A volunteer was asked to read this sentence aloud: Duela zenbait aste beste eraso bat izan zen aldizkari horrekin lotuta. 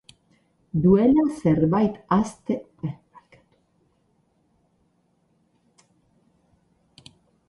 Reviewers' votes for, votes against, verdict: 0, 10, rejected